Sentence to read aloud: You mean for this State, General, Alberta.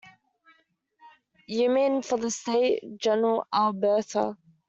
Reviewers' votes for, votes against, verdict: 2, 0, accepted